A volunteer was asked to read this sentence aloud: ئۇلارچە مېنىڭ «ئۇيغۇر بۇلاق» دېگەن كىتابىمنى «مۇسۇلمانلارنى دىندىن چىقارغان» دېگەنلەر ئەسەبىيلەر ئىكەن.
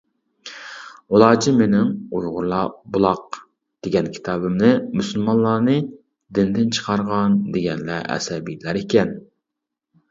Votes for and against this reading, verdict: 0, 2, rejected